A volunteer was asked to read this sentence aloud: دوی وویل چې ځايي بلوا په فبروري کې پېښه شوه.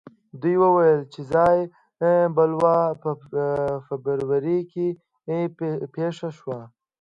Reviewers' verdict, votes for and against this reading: rejected, 1, 2